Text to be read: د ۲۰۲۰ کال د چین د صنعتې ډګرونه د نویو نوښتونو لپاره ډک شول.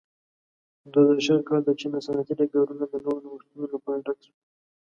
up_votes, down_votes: 0, 2